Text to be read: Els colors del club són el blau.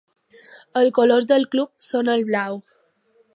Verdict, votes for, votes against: rejected, 2, 3